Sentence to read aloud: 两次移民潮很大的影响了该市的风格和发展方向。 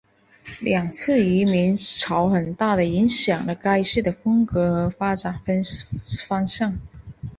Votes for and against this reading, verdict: 0, 2, rejected